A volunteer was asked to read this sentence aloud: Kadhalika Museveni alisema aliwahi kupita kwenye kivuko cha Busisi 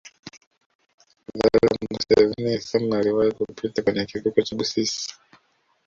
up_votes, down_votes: 0, 2